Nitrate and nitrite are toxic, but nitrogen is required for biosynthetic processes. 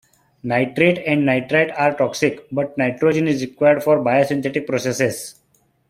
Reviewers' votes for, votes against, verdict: 2, 0, accepted